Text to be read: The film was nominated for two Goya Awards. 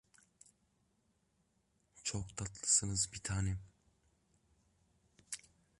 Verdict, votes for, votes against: rejected, 0, 2